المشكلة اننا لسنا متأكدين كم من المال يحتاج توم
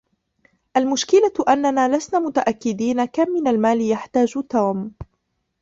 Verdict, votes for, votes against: rejected, 1, 2